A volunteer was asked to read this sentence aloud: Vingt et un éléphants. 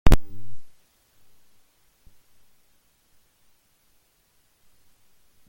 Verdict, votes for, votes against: rejected, 0, 2